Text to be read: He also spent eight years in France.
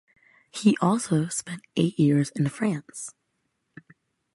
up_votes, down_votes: 2, 0